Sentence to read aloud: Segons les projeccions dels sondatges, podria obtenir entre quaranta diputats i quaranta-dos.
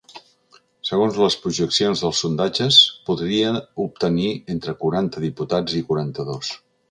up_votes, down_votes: 3, 0